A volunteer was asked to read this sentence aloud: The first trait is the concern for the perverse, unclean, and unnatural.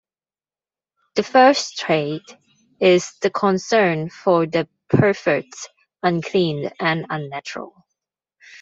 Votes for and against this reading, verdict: 0, 2, rejected